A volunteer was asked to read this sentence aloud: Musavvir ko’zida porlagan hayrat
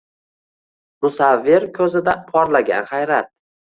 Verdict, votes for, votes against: accepted, 2, 0